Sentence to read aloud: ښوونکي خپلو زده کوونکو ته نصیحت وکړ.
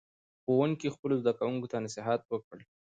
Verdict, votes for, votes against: rejected, 0, 2